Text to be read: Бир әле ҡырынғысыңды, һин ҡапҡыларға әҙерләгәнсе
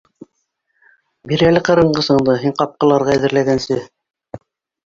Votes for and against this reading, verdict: 2, 1, accepted